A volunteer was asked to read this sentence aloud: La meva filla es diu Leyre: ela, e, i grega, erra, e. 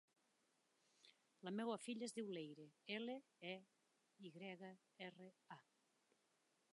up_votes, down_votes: 1, 2